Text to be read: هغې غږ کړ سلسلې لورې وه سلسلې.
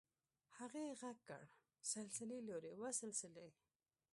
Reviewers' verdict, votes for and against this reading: rejected, 1, 2